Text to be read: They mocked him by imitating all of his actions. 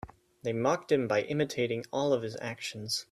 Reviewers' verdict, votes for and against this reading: accepted, 3, 0